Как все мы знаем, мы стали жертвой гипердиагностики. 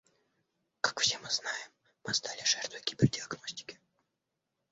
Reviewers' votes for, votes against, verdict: 1, 2, rejected